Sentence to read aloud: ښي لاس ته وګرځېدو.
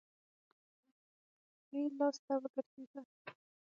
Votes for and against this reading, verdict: 3, 6, rejected